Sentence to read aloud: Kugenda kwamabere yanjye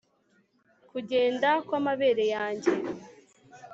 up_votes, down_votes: 4, 0